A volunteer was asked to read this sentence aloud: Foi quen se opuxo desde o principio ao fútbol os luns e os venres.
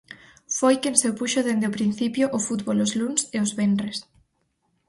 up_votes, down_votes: 2, 4